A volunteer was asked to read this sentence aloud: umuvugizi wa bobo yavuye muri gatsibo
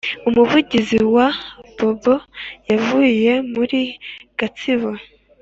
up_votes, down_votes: 2, 0